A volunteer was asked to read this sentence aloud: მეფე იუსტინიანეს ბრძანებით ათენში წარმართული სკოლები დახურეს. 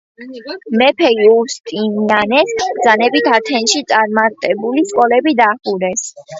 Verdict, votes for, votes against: rejected, 1, 2